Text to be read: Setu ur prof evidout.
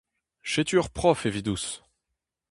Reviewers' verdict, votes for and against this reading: rejected, 0, 2